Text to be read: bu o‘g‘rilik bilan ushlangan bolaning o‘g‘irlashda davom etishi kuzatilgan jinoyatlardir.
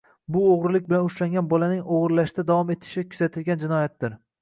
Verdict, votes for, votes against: rejected, 0, 2